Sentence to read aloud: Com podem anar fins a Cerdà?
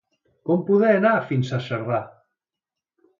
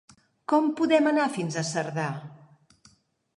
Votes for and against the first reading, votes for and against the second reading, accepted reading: 1, 2, 3, 0, second